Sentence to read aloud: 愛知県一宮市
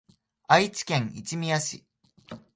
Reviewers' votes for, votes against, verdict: 0, 2, rejected